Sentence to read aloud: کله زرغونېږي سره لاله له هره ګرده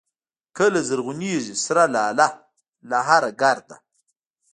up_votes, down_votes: 1, 2